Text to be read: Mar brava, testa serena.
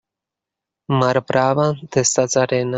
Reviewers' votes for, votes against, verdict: 0, 2, rejected